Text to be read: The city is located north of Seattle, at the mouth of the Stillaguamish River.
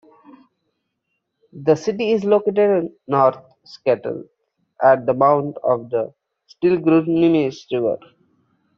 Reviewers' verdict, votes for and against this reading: rejected, 0, 2